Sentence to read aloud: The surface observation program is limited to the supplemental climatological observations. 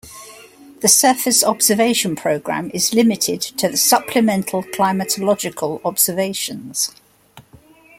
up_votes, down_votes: 2, 0